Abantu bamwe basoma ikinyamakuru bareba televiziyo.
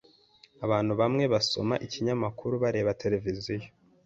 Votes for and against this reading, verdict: 2, 0, accepted